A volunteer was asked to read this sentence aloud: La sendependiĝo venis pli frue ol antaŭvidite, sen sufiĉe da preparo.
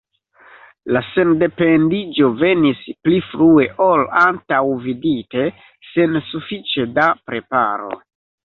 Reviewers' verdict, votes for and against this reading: rejected, 1, 2